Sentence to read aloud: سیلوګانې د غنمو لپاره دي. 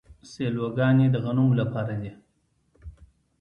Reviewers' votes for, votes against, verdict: 2, 0, accepted